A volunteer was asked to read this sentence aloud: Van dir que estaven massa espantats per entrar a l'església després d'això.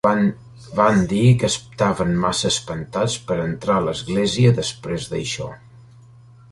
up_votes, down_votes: 1, 2